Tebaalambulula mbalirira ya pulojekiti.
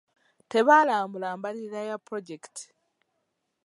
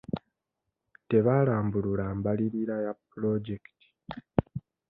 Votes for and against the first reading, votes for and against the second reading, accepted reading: 1, 2, 2, 0, second